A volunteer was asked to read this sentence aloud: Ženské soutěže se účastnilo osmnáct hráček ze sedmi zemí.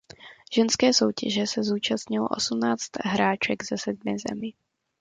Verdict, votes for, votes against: rejected, 0, 2